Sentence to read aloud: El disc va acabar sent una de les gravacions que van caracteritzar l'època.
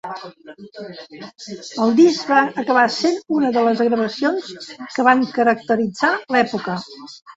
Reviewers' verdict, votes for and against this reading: rejected, 0, 2